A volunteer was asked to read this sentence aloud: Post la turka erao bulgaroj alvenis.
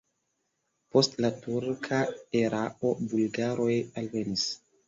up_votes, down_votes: 3, 0